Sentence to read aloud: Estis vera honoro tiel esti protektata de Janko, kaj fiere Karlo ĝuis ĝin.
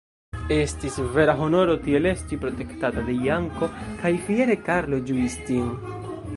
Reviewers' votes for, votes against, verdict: 1, 3, rejected